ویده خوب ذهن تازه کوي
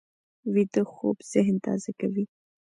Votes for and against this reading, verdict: 2, 1, accepted